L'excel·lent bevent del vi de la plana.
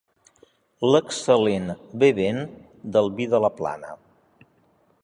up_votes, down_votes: 2, 0